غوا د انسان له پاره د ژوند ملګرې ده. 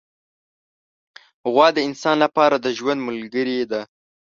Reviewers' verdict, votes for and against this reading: accepted, 2, 0